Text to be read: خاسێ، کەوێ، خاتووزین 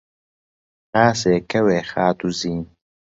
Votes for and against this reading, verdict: 2, 0, accepted